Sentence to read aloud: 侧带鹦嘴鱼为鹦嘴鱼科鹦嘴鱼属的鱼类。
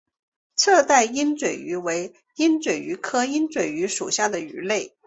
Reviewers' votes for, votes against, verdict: 2, 0, accepted